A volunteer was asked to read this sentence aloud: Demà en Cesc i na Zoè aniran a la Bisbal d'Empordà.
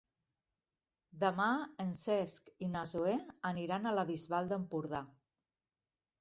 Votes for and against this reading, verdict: 3, 0, accepted